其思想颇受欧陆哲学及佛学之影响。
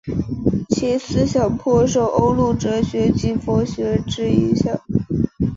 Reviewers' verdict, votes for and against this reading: accepted, 3, 1